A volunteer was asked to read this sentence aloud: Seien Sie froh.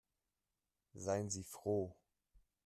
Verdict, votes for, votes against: accepted, 3, 0